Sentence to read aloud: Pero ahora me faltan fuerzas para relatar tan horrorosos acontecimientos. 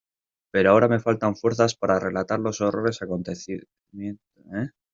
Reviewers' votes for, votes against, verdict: 0, 2, rejected